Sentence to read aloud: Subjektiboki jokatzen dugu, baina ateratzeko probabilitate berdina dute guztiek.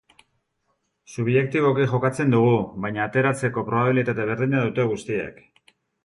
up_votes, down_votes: 3, 0